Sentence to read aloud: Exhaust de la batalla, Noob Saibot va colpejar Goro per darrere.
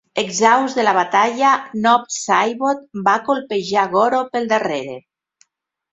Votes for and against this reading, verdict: 1, 2, rejected